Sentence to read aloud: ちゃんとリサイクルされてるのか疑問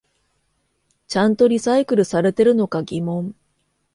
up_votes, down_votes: 2, 0